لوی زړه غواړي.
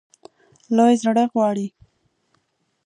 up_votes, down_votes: 2, 0